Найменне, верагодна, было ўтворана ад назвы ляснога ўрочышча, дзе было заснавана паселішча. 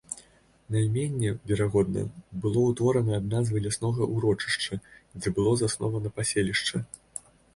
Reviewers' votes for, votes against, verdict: 1, 2, rejected